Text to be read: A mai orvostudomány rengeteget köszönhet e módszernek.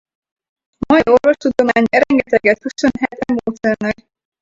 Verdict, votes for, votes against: rejected, 0, 4